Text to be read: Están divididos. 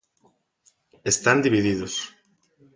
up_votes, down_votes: 2, 0